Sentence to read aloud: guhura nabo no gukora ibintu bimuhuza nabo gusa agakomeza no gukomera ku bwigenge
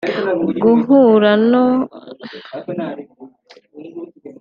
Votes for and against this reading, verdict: 1, 2, rejected